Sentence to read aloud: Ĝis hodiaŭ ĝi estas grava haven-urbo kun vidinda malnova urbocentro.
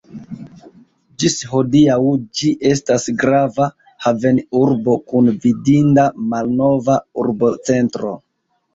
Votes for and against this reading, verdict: 1, 2, rejected